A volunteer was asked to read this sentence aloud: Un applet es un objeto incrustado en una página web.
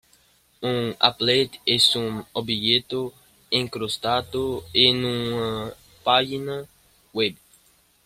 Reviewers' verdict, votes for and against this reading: accepted, 2, 1